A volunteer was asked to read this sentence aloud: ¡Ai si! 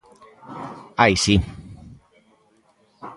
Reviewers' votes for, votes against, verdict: 2, 0, accepted